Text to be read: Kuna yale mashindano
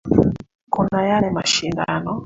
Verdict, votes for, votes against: rejected, 2, 3